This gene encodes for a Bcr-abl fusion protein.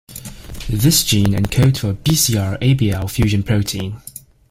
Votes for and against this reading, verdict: 2, 0, accepted